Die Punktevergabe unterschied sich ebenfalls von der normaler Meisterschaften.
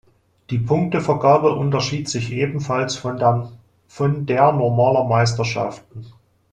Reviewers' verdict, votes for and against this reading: rejected, 0, 2